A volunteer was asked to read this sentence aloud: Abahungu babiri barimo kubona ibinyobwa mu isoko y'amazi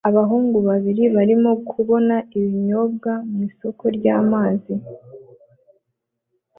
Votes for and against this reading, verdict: 2, 0, accepted